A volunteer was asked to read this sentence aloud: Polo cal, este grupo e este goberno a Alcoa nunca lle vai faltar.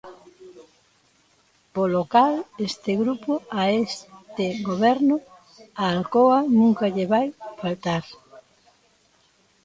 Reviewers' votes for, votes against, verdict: 0, 3, rejected